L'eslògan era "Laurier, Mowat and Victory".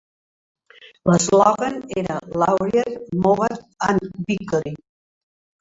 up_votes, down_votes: 1, 2